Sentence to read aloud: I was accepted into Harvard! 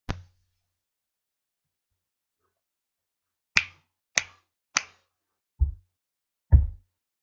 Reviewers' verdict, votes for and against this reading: rejected, 0, 2